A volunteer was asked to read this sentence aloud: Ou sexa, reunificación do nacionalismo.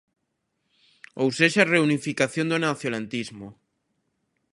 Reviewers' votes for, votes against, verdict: 0, 2, rejected